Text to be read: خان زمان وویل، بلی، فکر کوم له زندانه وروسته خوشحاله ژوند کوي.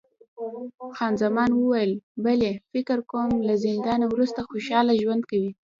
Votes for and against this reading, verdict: 0, 2, rejected